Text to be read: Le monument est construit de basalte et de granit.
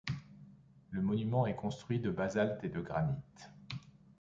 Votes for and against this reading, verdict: 2, 0, accepted